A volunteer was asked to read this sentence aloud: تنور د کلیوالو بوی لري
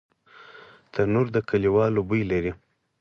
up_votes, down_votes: 4, 2